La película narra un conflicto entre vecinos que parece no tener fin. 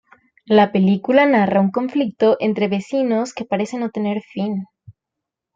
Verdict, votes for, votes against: accepted, 2, 0